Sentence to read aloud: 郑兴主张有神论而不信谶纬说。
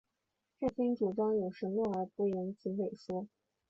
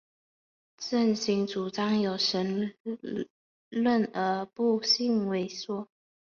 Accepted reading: first